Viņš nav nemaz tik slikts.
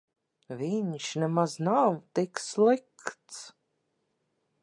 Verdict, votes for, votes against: rejected, 0, 2